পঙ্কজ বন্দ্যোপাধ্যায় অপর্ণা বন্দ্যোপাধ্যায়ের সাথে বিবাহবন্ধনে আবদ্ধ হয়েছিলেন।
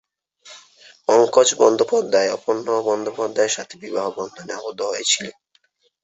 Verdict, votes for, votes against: rejected, 1, 2